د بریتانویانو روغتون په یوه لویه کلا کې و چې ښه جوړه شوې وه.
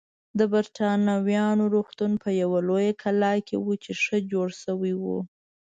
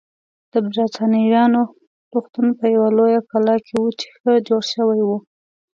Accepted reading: second